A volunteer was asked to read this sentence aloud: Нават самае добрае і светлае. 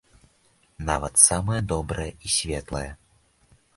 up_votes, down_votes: 2, 0